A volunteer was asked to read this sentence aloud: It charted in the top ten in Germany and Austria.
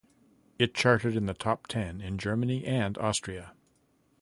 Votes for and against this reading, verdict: 2, 0, accepted